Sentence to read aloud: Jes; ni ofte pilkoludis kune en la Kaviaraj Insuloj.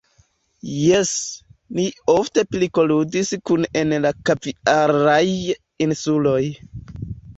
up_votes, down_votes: 1, 3